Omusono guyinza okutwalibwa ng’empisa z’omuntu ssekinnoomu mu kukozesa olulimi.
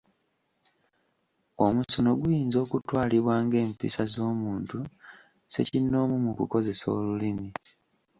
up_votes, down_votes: 2, 0